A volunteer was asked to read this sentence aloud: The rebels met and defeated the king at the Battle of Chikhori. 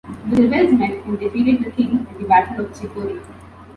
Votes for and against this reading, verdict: 1, 2, rejected